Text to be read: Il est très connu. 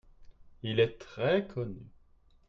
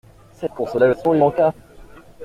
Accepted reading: first